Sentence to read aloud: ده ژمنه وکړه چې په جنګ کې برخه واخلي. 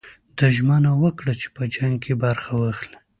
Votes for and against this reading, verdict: 2, 0, accepted